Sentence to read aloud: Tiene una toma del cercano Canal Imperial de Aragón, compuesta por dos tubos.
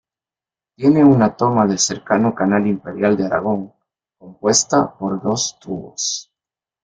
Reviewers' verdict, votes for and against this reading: rejected, 0, 2